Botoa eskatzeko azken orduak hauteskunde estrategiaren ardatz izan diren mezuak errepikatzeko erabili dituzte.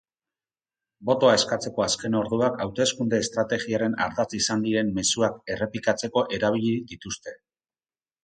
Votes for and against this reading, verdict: 2, 4, rejected